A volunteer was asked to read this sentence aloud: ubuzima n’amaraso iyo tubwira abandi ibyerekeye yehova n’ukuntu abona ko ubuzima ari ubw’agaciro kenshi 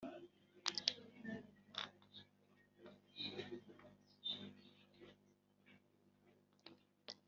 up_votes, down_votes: 1, 4